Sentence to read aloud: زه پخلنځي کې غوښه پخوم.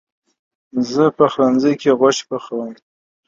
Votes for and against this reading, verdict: 2, 0, accepted